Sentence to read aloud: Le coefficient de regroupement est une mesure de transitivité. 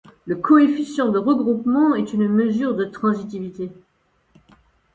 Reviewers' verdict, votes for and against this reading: accepted, 2, 0